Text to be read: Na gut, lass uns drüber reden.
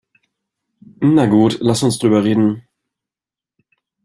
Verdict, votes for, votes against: accepted, 2, 0